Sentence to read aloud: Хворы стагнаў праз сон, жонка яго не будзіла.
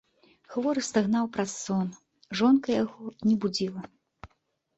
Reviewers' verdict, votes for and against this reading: accepted, 2, 0